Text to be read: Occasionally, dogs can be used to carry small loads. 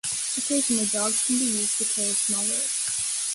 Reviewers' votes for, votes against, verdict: 1, 2, rejected